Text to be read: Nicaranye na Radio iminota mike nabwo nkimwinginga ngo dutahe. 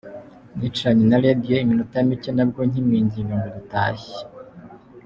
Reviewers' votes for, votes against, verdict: 2, 0, accepted